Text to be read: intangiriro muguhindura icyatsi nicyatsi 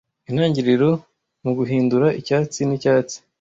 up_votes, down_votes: 2, 0